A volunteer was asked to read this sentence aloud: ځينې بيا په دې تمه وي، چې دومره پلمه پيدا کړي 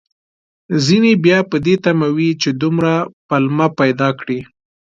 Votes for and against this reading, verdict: 2, 0, accepted